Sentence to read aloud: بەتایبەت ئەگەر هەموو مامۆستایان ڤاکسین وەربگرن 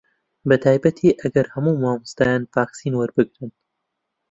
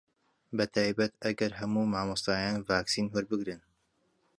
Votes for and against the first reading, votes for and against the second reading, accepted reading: 0, 2, 2, 0, second